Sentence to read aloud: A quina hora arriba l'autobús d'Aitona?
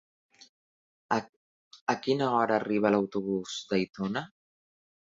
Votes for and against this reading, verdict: 1, 2, rejected